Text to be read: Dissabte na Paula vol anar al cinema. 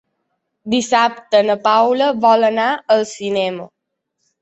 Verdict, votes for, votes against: accepted, 3, 0